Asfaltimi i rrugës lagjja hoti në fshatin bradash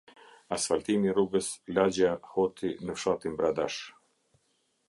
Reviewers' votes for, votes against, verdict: 2, 0, accepted